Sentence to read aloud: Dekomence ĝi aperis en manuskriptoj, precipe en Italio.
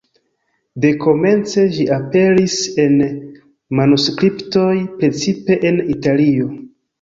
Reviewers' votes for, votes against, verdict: 2, 0, accepted